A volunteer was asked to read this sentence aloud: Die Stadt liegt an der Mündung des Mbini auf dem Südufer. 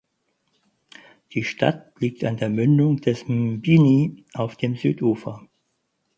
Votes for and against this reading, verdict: 4, 0, accepted